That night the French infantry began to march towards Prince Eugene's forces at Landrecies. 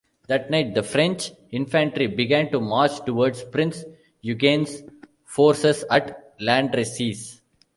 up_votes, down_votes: 0, 2